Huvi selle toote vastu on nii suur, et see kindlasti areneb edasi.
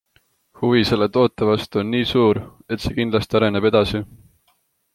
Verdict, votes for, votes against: accepted, 2, 0